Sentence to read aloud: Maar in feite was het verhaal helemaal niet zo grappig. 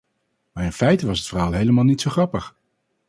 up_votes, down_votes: 2, 2